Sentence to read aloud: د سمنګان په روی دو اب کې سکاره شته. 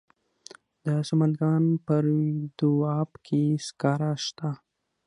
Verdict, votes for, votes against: accepted, 6, 0